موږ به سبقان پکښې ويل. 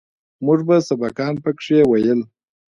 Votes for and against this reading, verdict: 0, 2, rejected